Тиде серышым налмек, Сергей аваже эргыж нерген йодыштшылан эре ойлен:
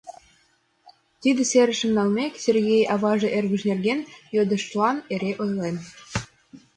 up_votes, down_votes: 1, 4